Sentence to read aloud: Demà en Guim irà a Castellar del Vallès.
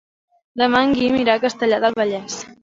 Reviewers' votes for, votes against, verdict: 2, 1, accepted